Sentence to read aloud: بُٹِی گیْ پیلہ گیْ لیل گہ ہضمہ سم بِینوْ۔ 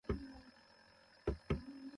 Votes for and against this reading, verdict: 0, 2, rejected